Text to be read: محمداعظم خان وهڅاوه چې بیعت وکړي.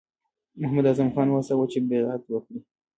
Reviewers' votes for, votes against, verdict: 2, 1, accepted